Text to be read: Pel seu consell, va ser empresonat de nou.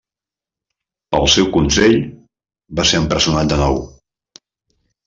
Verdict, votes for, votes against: rejected, 1, 2